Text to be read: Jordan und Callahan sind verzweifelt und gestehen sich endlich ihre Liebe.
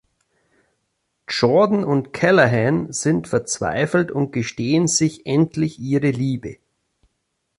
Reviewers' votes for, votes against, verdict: 2, 0, accepted